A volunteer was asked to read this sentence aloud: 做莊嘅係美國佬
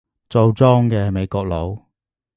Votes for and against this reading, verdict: 2, 0, accepted